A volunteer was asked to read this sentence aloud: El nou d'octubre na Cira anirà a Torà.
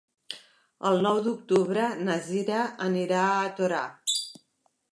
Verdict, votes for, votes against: accepted, 2, 0